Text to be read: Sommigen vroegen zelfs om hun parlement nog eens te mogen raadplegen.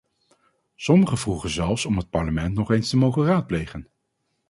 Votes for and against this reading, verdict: 2, 4, rejected